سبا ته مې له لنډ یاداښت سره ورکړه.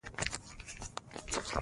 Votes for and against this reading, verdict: 0, 2, rejected